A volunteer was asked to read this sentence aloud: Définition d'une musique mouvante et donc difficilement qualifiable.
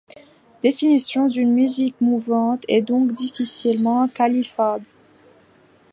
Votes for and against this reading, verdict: 2, 1, accepted